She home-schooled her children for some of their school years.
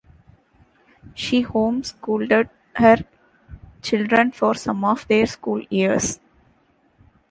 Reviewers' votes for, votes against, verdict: 0, 2, rejected